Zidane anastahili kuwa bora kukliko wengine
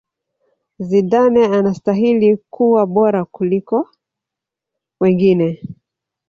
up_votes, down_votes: 4, 1